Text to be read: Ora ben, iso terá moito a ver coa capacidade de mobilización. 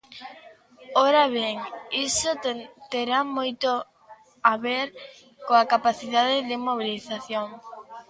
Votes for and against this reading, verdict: 0, 2, rejected